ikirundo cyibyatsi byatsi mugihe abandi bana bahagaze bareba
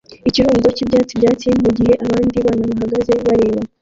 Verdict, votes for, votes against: rejected, 1, 2